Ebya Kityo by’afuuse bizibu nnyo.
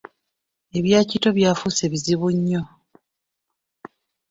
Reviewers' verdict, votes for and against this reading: accepted, 2, 1